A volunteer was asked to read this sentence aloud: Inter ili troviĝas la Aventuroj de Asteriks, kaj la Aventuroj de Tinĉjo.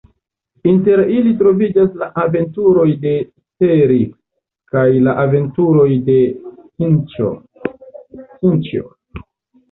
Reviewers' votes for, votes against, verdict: 1, 2, rejected